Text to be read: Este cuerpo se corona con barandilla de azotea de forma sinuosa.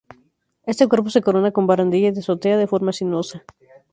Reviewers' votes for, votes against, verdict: 2, 2, rejected